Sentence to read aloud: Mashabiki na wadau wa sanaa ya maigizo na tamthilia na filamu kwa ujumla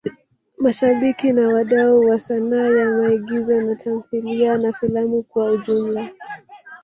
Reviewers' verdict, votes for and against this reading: rejected, 1, 2